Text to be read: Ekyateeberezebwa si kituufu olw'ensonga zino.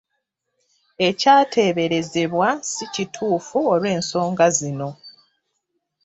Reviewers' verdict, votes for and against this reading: accepted, 2, 0